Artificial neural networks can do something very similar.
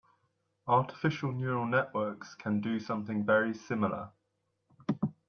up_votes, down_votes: 2, 0